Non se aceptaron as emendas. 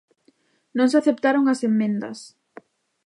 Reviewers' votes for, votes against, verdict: 1, 2, rejected